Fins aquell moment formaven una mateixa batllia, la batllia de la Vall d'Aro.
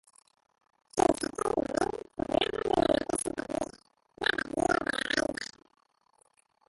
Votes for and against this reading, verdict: 0, 2, rejected